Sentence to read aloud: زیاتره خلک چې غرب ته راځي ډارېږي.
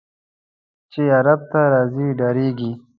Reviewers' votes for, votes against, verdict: 0, 2, rejected